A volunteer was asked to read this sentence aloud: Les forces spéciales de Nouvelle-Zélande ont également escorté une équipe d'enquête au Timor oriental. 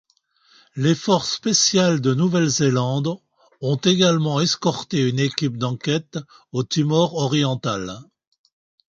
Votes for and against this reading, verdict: 2, 0, accepted